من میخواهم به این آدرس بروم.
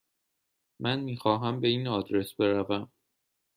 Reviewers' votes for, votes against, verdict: 2, 0, accepted